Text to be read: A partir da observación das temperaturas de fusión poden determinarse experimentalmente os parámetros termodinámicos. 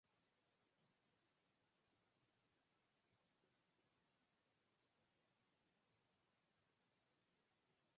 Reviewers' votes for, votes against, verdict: 0, 4, rejected